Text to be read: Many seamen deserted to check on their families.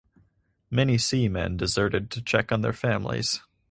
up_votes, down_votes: 4, 0